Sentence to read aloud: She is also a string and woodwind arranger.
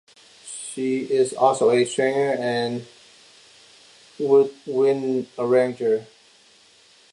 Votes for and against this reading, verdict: 0, 2, rejected